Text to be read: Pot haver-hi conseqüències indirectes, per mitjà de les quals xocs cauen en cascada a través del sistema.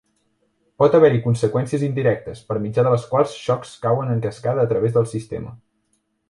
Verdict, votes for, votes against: accepted, 3, 0